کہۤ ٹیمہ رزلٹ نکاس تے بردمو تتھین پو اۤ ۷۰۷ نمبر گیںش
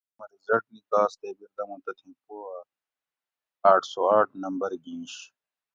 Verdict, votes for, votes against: rejected, 0, 2